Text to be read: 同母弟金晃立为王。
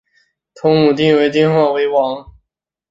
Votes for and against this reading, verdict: 0, 2, rejected